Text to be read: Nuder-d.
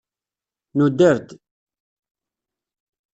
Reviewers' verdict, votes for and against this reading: rejected, 1, 2